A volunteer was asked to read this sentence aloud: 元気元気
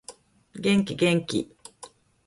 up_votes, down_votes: 0, 2